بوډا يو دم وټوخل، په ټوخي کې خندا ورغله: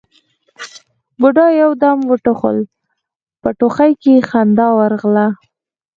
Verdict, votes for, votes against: accepted, 4, 0